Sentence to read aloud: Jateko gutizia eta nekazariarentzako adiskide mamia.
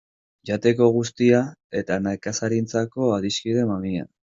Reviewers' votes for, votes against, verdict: 0, 2, rejected